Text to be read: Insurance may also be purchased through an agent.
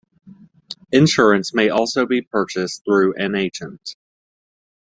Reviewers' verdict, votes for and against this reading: accepted, 2, 0